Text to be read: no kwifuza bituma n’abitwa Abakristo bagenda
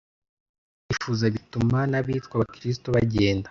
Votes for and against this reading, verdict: 0, 2, rejected